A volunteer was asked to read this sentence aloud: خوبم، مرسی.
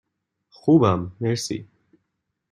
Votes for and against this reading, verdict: 2, 0, accepted